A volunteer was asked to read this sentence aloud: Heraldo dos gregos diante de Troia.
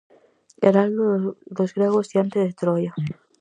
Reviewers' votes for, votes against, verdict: 2, 2, rejected